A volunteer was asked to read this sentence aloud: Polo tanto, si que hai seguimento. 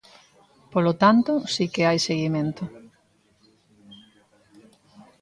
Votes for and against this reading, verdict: 2, 0, accepted